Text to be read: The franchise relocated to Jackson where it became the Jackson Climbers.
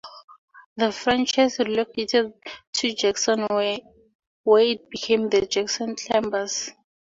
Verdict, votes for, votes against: rejected, 2, 4